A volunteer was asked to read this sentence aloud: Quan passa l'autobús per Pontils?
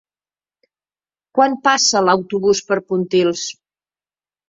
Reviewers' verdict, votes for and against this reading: accepted, 6, 0